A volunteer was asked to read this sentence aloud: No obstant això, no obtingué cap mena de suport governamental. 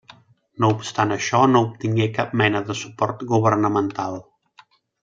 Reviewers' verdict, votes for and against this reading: accepted, 3, 0